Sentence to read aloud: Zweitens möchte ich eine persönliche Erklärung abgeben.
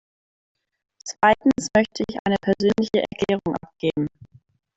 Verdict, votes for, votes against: rejected, 1, 2